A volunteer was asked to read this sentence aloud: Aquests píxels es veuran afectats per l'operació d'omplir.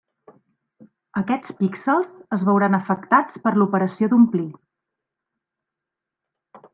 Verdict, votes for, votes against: accepted, 3, 0